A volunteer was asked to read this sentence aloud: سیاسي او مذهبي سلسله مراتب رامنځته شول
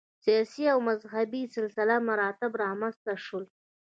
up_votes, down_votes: 1, 2